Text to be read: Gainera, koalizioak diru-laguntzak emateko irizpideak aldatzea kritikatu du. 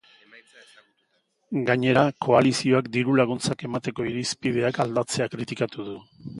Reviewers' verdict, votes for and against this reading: accepted, 2, 1